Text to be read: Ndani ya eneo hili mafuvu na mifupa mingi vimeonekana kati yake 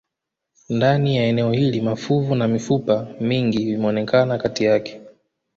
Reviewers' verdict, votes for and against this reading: accepted, 2, 0